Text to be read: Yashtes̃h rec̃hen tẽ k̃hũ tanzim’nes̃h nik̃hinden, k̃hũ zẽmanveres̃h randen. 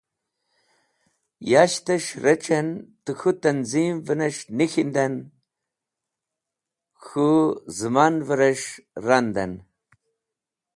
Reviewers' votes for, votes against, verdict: 2, 0, accepted